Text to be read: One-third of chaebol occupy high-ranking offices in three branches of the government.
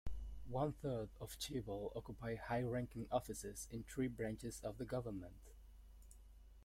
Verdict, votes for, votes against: accepted, 2, 0